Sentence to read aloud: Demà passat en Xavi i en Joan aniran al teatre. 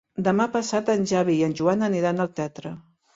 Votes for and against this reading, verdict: 2, 0, accepted